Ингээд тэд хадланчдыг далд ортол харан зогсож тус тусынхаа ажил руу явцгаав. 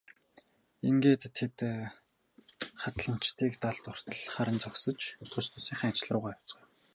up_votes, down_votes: 0, 4